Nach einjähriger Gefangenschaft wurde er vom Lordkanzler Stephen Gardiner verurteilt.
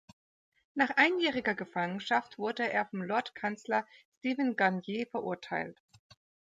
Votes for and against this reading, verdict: 0, 2, rejected